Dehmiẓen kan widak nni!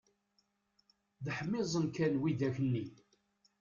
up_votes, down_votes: 1, 2